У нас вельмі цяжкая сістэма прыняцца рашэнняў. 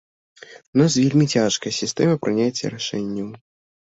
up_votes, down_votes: 1, 2